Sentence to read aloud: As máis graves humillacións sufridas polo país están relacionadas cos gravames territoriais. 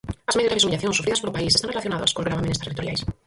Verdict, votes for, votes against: rejected, 0, 4